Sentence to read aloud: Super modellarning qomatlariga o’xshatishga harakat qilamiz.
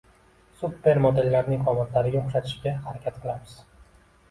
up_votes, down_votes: 1, 2